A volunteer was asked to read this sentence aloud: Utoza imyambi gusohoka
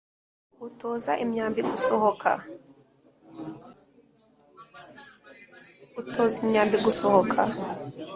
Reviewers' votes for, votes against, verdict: 0, 2, rejected